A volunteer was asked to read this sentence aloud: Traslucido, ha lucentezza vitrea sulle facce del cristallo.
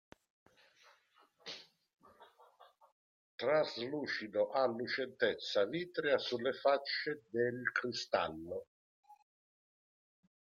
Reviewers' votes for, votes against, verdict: 0, 2, rejected